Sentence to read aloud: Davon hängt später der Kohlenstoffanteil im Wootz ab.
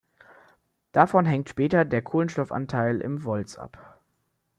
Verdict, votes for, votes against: rejected, 0, 2